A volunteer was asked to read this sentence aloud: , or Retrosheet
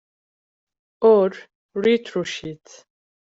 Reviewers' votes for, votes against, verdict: 0, 2, rejected